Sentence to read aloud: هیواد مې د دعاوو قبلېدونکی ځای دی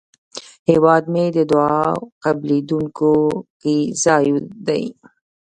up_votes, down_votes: 0, 2